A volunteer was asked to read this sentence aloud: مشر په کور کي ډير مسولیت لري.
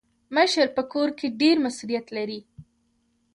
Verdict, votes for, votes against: rejected, 1, 2